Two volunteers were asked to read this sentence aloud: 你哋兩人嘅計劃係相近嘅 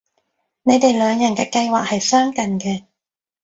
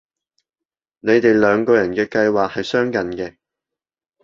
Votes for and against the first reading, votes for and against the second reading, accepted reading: 3, 0, 0, 2, first